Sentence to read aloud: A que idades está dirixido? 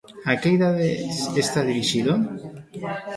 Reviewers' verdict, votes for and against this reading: rejected, 0, 2